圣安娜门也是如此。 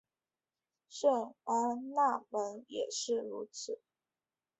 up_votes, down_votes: 3, 1